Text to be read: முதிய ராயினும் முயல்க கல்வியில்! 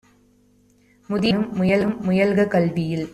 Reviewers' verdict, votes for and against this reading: rejected, 0, 2